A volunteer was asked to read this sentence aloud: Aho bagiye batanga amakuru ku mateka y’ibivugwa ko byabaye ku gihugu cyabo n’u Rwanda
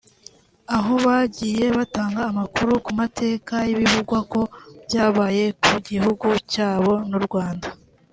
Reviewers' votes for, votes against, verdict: 2, 0, accepted